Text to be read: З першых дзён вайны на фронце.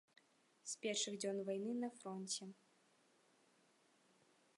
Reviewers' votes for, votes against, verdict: 0, 2, rejected